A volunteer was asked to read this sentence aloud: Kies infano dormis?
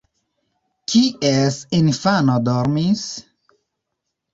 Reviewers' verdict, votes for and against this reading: rejected, 0, 2